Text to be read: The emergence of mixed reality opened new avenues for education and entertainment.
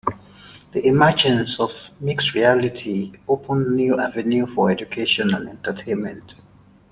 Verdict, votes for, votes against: rejected, 0, 2